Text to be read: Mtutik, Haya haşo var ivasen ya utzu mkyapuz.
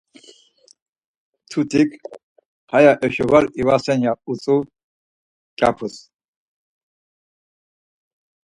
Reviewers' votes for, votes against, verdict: 4, 0, accepted